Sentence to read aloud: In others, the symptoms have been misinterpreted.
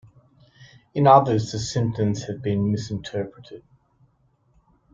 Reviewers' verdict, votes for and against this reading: accepted, 2, 0